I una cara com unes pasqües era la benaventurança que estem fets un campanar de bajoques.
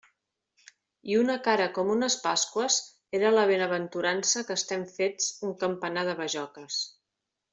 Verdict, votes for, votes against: accepted, 3, 0